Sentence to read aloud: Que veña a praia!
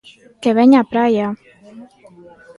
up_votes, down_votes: 2, 0